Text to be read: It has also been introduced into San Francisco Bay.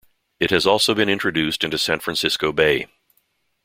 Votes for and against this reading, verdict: 2, 0, accepted